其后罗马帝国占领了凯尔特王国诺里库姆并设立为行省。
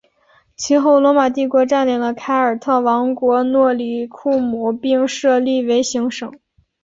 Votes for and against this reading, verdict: 3, 0, accepted